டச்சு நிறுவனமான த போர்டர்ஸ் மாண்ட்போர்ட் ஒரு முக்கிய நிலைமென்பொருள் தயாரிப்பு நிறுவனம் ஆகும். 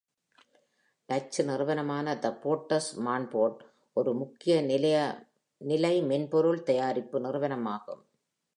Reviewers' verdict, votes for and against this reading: rejected, 0, 2